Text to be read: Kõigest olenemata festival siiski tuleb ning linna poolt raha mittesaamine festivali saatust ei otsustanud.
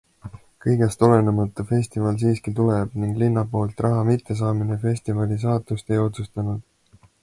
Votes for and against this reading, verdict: 2, 1, accepted